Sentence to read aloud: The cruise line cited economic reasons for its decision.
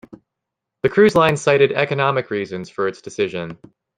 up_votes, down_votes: 2, 0